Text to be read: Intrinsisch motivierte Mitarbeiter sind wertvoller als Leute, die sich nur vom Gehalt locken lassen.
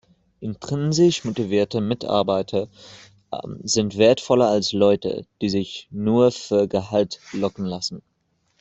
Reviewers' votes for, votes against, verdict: 0, 2, rejected